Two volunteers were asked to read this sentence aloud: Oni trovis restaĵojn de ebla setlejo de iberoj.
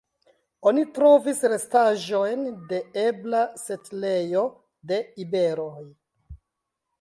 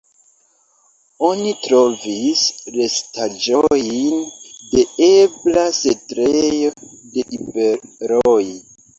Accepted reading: first